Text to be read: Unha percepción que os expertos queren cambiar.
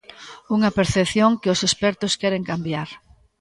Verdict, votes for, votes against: accepted, 2, 0